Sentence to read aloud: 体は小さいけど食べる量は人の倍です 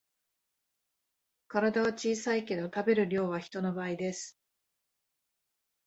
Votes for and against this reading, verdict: 2, 0, accepted